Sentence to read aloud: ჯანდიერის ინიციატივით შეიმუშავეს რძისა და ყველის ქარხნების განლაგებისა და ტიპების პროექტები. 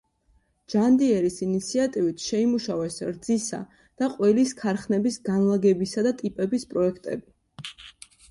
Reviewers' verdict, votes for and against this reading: accepted, 2, 0